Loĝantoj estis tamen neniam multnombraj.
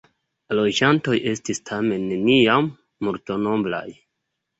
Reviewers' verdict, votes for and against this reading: rejected, 1, 2